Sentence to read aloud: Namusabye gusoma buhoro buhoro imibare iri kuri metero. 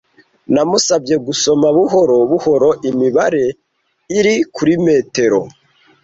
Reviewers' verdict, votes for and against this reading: accepted, 2, 0